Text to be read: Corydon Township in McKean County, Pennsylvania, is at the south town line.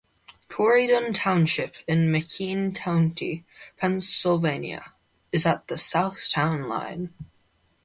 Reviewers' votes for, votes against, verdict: 2, 0, accepted